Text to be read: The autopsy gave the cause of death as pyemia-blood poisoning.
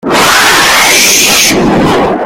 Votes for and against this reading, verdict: 0, 2, rejected